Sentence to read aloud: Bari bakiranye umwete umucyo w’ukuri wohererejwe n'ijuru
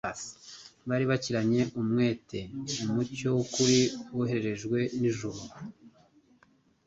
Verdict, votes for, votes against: accepted, 2, 1